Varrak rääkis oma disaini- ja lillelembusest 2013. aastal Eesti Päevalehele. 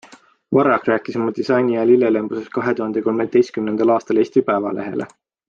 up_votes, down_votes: 0, 2